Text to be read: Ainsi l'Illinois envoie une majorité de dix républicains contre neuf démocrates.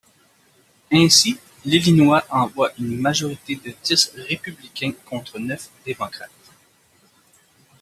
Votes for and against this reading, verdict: 2, 0, accepted